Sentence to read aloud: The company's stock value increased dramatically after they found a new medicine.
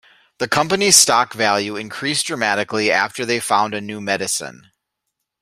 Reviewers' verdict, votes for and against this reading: accepted, 2, 0